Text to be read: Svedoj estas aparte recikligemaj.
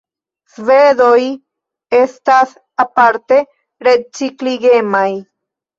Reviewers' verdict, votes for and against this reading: rejected, 1, 2